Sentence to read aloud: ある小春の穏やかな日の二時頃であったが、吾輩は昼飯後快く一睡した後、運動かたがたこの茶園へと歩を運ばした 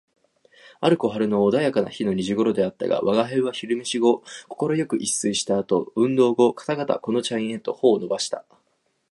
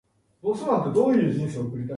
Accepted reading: first